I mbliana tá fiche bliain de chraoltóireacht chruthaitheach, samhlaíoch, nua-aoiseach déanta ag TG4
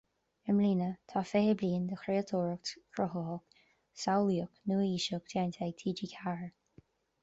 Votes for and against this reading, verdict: 0, 2, rejected